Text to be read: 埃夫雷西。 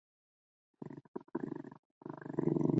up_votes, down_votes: 1, 4